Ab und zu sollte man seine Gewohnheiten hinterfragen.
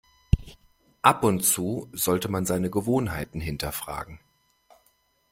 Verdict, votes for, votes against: accepted, 2, 0